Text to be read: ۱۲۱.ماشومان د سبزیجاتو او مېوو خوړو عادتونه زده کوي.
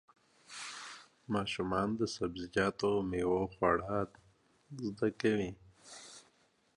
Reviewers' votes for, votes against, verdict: 0, 2, rejected